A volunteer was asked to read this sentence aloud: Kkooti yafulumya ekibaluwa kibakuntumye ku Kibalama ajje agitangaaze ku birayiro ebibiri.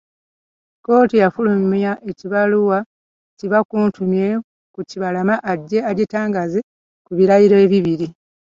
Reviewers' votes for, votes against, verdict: 2, 1, accepted